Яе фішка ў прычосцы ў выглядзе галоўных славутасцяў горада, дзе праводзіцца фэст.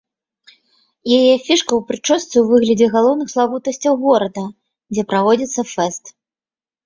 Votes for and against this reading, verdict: 2, 0, accepted